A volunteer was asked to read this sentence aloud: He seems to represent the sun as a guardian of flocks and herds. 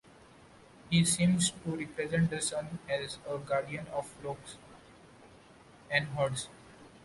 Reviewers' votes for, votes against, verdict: 3, 0, accepted